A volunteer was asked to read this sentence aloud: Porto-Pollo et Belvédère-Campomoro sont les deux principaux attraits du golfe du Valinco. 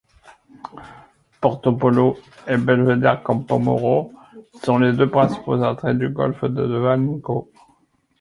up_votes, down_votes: 2, 1